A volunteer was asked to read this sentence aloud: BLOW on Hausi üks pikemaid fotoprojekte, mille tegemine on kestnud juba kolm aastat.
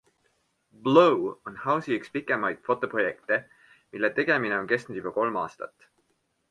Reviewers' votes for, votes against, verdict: 2, 0, accepted